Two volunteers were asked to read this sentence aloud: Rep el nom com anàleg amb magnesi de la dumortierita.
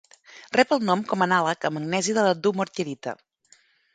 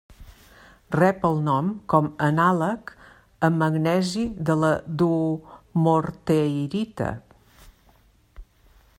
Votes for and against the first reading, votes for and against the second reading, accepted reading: 2, 0, 1, 2, first